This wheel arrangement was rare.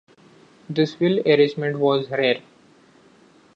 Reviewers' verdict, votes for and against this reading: accepted, 2, 0